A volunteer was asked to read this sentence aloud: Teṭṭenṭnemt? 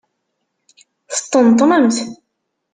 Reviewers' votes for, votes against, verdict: 1, 2, rejected